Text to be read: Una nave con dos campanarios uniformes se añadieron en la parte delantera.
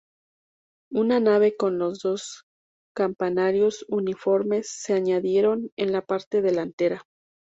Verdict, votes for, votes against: rejected, 0, 2